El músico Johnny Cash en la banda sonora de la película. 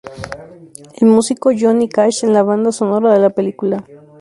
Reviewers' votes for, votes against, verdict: 0, 2, rejected